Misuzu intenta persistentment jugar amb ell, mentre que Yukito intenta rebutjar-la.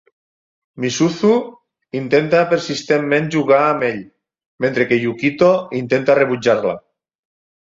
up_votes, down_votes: 6, 0